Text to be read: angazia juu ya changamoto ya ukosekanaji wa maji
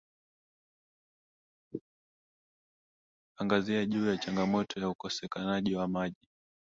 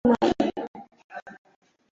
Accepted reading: first